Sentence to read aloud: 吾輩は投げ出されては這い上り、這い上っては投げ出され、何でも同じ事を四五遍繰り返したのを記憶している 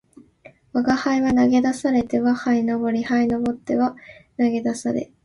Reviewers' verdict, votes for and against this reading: accepted, 3, 1